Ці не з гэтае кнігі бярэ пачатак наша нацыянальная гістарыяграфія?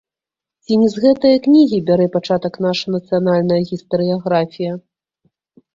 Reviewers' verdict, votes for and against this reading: rejected, 1, 2